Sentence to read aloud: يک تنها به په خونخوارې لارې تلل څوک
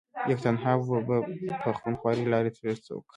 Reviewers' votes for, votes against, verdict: 1, 2, rejected